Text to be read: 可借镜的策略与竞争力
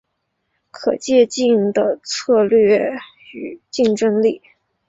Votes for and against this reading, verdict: 2, 0, accepted